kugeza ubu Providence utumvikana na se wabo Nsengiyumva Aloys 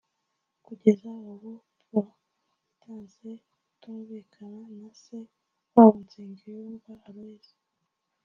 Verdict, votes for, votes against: rejected, 1, 2